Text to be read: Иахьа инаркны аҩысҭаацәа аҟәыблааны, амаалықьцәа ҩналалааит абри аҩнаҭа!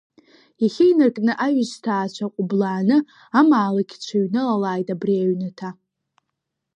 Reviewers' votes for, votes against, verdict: 1, 2, rejected